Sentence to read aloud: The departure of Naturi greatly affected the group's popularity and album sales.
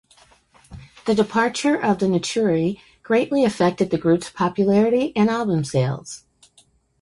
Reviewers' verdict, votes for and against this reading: rejected, 1, 2